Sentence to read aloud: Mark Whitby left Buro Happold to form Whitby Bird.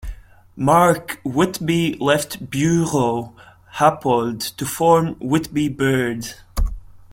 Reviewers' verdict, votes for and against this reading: accepted, 2, 0